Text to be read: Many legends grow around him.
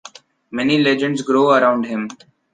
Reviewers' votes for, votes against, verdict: 2, 0, accepted